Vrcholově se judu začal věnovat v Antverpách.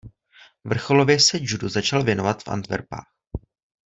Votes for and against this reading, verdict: 2, 0, accepted